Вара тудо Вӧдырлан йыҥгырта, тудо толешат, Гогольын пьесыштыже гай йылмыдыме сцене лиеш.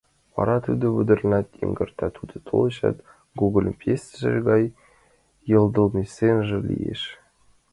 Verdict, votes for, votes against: rejected, 0, 3